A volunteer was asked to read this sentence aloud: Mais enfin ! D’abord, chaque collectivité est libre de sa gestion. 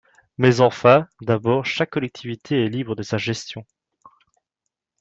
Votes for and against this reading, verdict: 2, 0, accepted